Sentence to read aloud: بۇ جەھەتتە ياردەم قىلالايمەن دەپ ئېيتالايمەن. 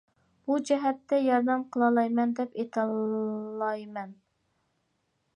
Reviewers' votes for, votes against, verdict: 1, 2, rejected